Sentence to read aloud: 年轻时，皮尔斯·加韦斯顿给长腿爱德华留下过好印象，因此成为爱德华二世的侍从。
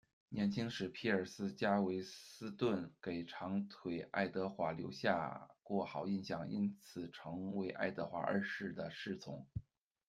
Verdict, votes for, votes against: accepted, 2, 0